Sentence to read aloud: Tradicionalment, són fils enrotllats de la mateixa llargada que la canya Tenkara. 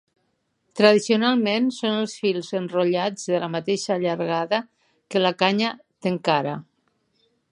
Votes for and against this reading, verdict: 0, 2, rejected